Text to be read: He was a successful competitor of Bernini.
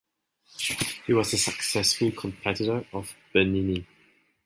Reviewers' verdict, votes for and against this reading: rejected, 1, 2